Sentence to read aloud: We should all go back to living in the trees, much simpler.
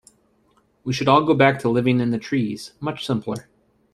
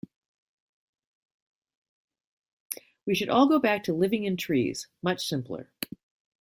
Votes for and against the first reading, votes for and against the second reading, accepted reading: 2, 0, 0, 2, first